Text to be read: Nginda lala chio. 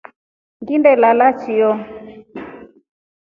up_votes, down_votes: 2, 0